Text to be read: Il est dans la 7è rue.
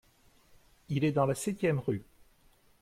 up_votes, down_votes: 0, 2